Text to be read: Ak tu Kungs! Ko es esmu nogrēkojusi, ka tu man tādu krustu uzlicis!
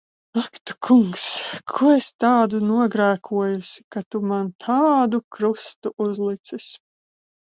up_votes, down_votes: 0, 4